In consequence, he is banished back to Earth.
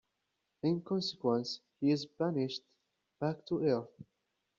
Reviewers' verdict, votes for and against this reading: accepted, 2, 0